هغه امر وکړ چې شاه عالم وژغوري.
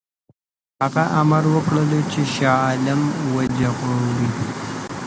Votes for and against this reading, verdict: 1, 2, rejected